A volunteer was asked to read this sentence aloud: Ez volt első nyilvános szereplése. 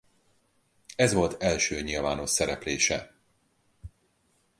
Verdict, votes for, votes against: accepted, 4, 0